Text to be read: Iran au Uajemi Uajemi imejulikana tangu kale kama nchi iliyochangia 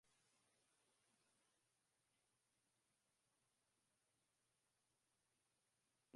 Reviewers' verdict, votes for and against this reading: rejected, 0, 4